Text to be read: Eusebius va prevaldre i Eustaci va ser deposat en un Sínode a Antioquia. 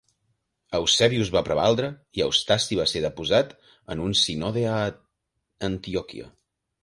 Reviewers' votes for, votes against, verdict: 0, 2, rejected